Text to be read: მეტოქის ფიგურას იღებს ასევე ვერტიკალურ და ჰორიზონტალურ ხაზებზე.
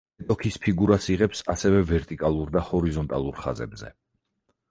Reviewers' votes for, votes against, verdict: 0, 4, rejected